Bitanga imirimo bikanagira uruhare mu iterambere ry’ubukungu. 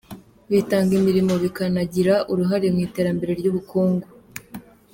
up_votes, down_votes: 2, 0